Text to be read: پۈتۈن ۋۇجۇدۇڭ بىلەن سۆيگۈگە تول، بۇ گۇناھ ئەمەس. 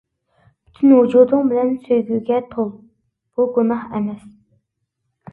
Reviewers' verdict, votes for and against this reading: accepted, 2, 0